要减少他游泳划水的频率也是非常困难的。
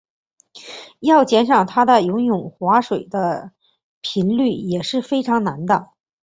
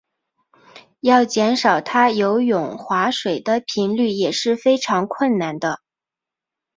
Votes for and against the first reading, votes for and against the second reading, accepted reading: 0, 2, 2, 0, second